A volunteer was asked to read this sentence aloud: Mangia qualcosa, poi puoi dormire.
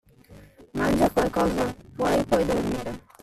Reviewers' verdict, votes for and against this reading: rejected, 1, 2